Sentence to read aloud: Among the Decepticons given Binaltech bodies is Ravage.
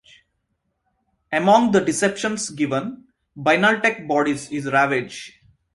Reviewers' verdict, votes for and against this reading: rejected, 1, 2